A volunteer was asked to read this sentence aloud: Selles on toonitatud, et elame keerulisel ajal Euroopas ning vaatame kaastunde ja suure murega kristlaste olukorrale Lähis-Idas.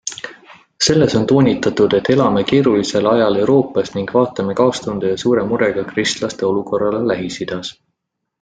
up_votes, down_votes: 2, 0